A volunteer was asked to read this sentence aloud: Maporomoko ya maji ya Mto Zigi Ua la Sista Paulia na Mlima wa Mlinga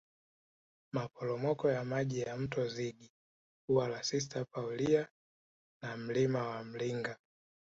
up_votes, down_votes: 2, 1